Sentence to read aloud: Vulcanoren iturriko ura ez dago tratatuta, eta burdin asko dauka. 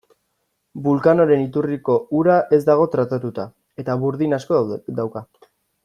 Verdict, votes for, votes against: rejected, 1, 2